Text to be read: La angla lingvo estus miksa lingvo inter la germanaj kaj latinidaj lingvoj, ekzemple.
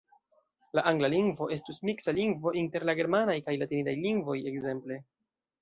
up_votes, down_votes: 0, 2